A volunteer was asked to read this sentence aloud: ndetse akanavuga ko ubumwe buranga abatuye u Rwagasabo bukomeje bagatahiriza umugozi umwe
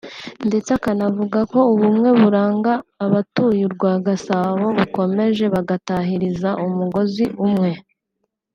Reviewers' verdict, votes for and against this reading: accepted, 2, 0